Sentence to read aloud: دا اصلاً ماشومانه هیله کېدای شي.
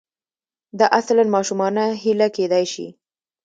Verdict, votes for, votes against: accepted, 2, 0